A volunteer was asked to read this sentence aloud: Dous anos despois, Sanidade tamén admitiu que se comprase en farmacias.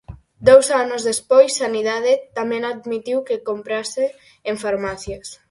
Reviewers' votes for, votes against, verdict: 0, 4, rejected